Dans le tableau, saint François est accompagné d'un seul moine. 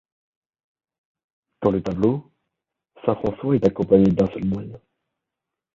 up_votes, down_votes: 2, 3